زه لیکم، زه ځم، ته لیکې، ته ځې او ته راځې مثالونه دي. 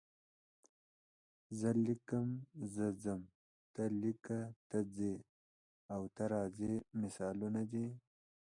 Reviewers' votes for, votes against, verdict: 0, 2, rejected